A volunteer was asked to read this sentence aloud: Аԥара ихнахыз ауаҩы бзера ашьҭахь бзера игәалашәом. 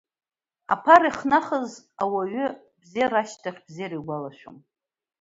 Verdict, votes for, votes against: accepted, 2, 0